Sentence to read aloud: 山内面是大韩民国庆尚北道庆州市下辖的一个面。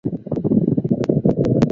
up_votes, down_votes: 0, 2